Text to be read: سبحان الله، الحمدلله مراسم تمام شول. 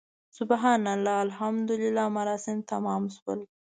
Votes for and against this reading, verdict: 2, 0, accepted